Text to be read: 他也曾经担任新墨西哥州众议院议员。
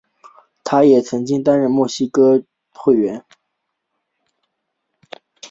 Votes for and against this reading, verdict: 2, 3, rejected